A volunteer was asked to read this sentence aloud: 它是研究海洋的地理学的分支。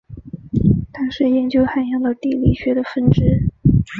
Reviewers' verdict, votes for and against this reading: accepted, 6, 1